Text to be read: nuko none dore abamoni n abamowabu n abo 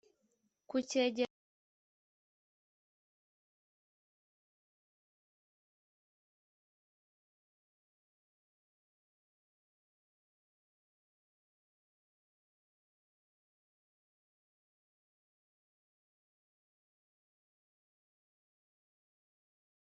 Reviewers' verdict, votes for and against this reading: rejected, 0, 2